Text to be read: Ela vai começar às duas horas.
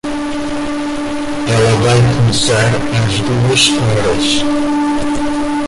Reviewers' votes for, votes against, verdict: 0, 2, rejected